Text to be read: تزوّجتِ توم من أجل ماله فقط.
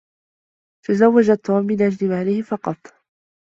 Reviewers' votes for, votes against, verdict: 2, 1, accepted